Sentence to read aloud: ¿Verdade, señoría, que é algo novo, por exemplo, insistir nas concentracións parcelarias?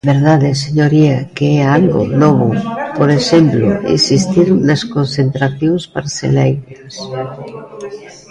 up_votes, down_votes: 0, 2